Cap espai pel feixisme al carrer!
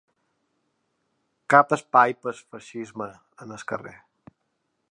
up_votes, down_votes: 1, 3